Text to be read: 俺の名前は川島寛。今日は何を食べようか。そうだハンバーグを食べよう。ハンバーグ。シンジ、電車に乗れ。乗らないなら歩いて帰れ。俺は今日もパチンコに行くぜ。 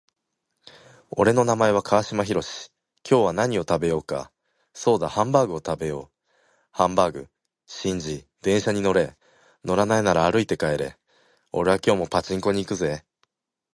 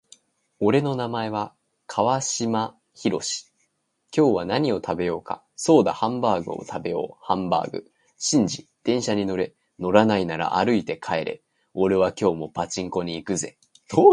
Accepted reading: first